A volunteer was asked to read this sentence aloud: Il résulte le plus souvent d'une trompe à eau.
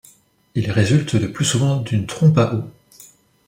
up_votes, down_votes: 2, 0